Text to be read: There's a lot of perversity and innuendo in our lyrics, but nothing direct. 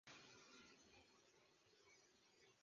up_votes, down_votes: 0, 2